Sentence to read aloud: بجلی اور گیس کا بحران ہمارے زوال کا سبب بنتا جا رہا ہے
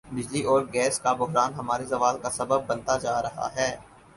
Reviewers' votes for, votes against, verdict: 4, 0, accepted